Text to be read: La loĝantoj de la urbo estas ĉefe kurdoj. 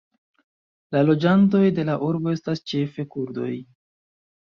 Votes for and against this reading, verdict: 2, 0, accepted